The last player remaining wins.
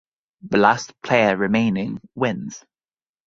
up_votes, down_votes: 0, 3